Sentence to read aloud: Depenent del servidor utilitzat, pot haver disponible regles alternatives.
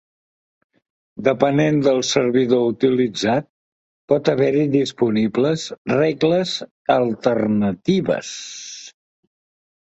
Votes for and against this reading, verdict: 1, 2, rejected